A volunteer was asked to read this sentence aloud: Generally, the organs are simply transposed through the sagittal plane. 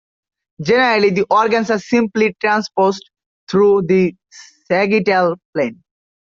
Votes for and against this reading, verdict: 2, 1, accepted